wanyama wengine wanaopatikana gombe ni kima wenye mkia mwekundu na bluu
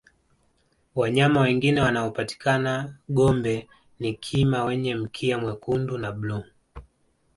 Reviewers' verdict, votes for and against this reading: accepted, 2, 0